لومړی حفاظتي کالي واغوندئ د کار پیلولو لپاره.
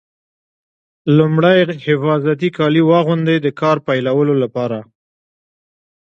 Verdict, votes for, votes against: accepted, 2, 1